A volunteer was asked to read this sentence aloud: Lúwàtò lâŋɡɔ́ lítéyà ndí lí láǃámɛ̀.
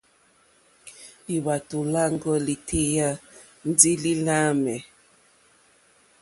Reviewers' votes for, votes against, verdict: 2, 0, accepted